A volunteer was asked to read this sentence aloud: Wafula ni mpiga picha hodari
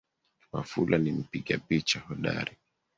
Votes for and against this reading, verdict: 3, 1, accepted